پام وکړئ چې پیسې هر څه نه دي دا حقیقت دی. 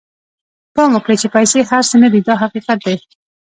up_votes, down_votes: 2, 0